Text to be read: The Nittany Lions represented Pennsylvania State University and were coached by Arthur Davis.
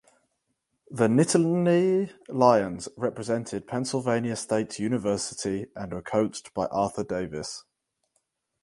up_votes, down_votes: 4, 0